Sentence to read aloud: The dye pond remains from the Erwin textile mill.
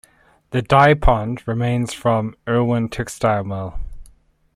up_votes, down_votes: 0, 2